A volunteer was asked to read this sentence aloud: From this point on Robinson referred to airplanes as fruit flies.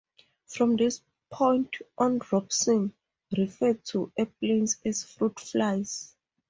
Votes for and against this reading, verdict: 2, 0, accepted